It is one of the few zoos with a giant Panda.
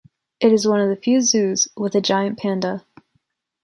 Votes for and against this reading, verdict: 2, 0, accepted